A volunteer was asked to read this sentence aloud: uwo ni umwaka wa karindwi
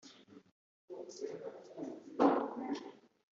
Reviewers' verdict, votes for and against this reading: rejected, 1, 3